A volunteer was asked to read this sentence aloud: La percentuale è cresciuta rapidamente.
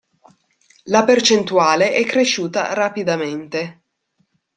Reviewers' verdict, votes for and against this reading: accepted, 2, 0